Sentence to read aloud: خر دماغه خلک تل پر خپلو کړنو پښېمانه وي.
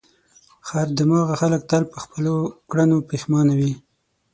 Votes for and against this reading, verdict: 6, 3, accepted